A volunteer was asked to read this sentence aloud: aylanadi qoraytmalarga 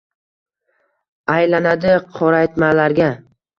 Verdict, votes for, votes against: rejected, 1, 2